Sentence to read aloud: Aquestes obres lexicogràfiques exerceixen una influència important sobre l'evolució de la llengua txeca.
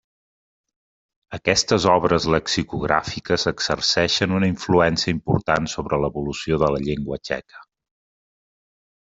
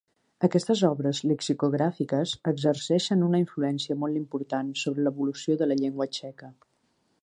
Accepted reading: first